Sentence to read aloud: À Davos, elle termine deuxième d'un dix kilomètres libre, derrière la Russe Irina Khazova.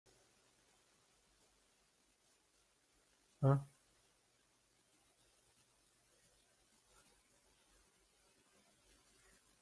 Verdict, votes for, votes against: rejected, 0, 2